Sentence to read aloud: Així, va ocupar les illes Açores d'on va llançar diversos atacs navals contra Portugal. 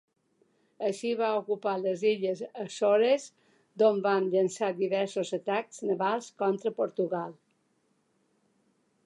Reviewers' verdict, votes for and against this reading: rejected, 1, 3